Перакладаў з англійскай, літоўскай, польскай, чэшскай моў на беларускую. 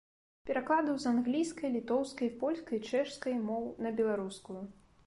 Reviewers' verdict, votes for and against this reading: rejected, 1, 2